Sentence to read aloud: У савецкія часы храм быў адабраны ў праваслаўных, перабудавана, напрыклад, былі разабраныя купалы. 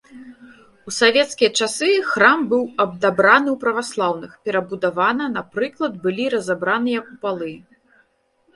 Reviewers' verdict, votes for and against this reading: rejected, 0, 2